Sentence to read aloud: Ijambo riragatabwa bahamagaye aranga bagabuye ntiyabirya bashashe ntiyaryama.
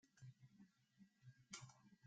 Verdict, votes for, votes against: rejected, 0, 2